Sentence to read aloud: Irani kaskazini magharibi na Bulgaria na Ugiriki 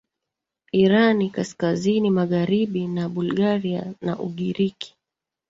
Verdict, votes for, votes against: rejected, 0, 2